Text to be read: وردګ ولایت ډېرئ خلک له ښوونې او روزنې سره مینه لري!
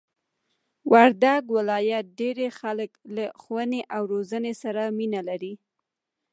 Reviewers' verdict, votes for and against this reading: rejected, 1, 2